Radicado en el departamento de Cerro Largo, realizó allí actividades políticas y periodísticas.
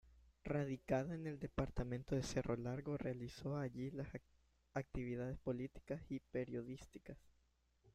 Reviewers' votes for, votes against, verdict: 0, 2, rejected